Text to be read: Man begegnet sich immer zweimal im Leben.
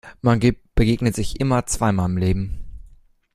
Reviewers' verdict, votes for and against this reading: rejected, 0, 2